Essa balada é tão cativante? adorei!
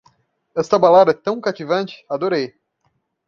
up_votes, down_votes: 0, 2